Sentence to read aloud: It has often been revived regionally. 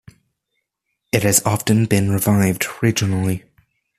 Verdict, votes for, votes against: accepted, 2, 0